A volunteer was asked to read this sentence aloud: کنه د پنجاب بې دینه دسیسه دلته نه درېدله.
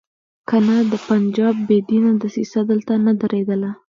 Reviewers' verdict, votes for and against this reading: rejected, 1, 2